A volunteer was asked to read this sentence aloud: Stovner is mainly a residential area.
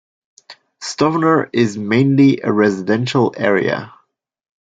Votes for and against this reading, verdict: 2, 0, accepted